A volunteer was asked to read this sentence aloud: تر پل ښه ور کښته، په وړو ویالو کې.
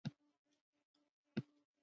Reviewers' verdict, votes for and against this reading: rejected, 1, 2